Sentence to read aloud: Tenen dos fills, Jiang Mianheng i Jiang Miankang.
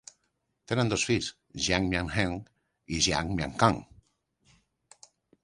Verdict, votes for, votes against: accepted, 3, 0